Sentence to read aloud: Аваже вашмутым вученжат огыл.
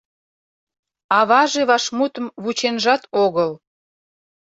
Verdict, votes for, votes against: accepted, 2, 0